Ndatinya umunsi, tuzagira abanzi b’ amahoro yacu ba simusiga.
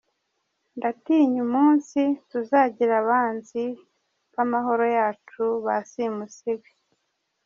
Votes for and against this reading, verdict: 2, 0, accepted